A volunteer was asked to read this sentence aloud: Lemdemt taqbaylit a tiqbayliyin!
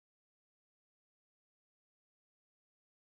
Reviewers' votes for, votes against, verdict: 0, 2, rejected